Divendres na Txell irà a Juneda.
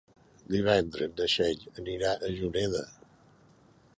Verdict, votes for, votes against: rejected, 0, 2